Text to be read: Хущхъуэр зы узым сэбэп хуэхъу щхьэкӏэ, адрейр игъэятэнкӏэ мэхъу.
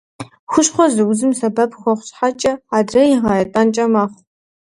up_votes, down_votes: 0, 2